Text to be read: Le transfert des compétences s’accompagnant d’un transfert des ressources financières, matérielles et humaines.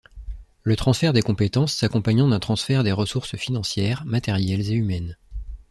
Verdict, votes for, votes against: accepted, 2, 0